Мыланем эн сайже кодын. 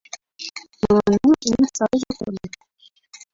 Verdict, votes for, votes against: rejected, 0, 2